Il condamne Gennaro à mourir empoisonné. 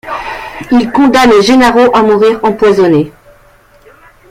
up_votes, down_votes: 1, 2